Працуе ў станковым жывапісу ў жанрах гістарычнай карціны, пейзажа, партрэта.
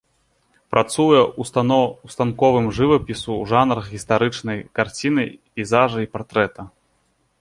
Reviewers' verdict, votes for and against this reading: rejected, 1, 4